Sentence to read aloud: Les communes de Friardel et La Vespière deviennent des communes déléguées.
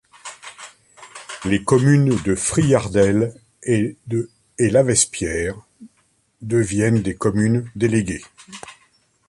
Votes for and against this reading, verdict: 0, 2, rejected